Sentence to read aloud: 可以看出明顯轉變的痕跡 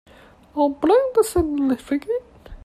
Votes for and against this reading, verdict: 0, 2, rejected